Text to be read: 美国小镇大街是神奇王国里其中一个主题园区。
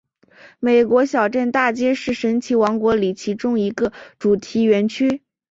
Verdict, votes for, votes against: accepted, 2, 0